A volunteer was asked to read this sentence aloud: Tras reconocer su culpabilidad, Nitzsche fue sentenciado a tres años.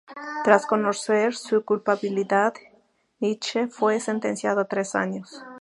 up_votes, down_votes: 0, 2